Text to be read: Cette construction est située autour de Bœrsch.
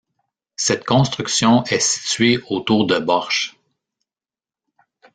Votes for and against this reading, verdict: 1, 2, rejected